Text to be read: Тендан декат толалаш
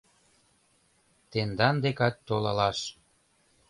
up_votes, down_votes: 2, 1